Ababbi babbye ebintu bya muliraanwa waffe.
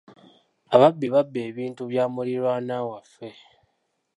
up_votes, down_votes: 1, 2